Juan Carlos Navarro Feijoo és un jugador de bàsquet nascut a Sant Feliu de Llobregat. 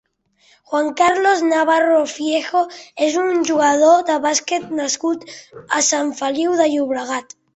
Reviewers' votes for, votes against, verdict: 0, 2, rejected